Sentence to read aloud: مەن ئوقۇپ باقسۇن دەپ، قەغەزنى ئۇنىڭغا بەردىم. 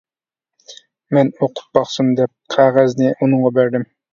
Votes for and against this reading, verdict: 2, 0, accepted